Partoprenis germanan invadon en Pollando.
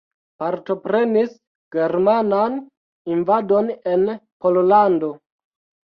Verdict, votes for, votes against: rejected, 1, 2